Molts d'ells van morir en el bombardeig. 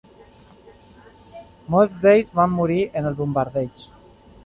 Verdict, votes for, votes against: accepted, 2, 0